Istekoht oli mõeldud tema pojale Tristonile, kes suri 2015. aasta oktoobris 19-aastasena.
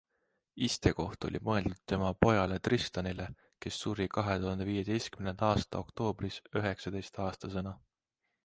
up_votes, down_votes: 0, 2